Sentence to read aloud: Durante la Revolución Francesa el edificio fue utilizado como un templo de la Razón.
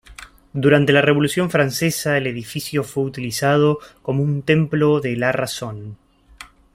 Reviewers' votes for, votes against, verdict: 2, 0, accepted